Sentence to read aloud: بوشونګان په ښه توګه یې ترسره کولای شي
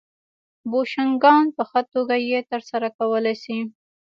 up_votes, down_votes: 2, 0